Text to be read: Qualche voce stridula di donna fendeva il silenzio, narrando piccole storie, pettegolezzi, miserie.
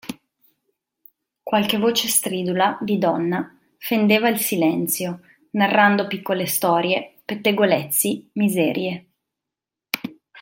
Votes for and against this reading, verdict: 2, 0, accepted